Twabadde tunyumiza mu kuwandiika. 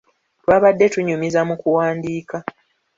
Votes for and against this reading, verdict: 2, 0, accepted